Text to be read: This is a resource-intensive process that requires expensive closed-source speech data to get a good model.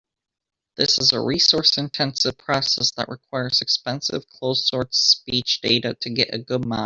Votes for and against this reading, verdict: 1, 2, rejected